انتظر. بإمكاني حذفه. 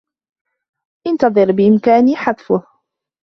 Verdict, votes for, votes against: accepted, 3, 1